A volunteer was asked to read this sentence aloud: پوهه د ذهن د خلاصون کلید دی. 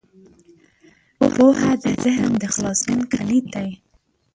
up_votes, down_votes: 0, 2